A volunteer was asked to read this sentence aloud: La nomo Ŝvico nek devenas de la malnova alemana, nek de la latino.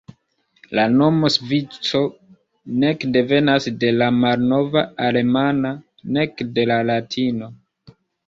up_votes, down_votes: 1, 2